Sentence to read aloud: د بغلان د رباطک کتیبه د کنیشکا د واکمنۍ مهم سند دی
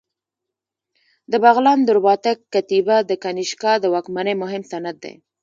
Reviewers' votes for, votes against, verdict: 1, 2, rejected